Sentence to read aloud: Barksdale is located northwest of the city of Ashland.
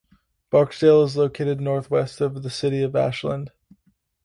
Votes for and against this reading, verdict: 2, 0, accepted